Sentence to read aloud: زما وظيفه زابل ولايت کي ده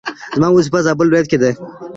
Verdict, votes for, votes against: accepted, 2, 0